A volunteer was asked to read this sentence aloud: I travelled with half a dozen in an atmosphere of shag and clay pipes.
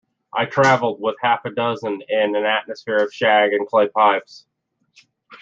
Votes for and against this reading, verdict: 2, 0, accepted